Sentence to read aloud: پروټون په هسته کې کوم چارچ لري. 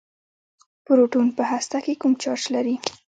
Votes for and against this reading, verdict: 1, 2, rejected